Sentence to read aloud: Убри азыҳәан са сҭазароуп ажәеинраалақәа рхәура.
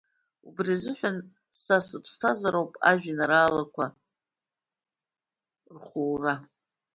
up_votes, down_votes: 1, 2